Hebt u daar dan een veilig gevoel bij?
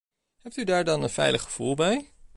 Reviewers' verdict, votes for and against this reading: accepted, 2, 0